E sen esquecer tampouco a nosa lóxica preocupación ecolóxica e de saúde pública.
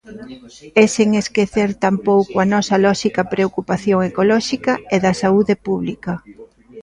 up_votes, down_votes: 0, 2